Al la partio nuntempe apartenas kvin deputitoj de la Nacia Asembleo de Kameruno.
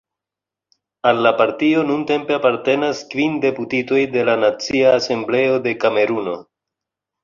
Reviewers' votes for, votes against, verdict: 2, 1, accepted